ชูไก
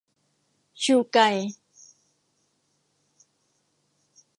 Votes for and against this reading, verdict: 2, 0, accepted